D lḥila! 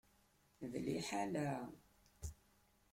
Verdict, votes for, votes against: rejected, 0, 2